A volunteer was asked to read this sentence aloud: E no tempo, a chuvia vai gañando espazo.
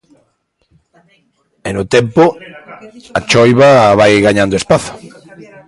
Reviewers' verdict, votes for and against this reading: rejected, 1, 2